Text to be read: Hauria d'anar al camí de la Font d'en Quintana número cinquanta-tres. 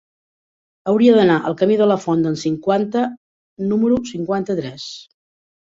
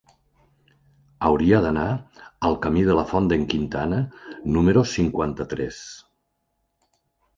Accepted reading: second